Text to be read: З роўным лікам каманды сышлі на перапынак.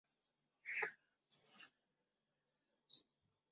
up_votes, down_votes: 0, 2